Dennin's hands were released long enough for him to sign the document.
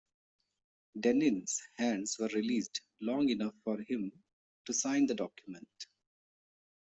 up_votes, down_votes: 2, 0